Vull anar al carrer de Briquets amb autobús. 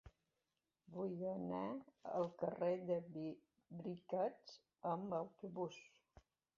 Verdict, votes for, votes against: rejected, 1, 2